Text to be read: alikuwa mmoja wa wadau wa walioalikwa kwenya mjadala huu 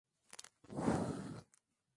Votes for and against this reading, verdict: 0, 2, rejected